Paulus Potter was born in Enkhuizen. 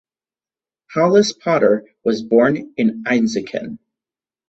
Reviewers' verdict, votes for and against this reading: rejected, 2, 4